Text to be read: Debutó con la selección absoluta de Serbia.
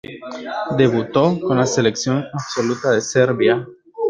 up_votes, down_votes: 0, 2